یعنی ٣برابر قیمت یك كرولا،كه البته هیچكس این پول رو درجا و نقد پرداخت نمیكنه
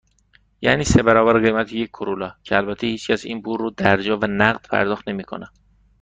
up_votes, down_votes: 0, 2